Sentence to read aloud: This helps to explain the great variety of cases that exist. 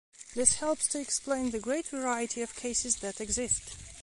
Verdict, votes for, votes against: accepted, 2, 0